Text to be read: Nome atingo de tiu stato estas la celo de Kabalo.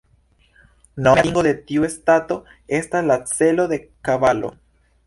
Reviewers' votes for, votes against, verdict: 1, 2, rejected